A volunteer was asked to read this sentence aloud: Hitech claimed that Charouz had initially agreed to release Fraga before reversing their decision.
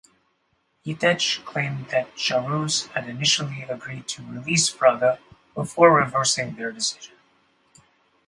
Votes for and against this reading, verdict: 0, 2, rejected